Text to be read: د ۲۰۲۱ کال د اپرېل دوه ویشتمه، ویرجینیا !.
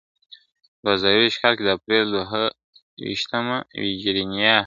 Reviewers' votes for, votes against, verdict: 0, 2, rejected